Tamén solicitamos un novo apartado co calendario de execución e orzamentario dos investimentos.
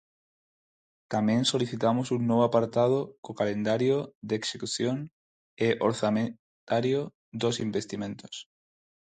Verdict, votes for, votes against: rejected, 0, 4